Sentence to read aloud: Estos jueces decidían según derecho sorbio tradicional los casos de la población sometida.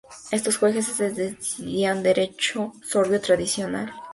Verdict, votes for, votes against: rejected, 0, 2